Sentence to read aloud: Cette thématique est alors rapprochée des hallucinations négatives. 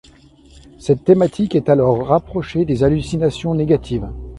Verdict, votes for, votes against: accepted, 2, 0